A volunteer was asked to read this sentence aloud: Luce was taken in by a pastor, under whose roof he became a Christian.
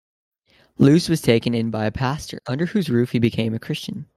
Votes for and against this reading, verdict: 2, 0, accepted